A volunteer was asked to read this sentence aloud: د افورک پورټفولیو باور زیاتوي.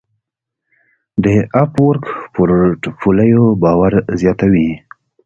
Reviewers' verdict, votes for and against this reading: accepted, 2, 1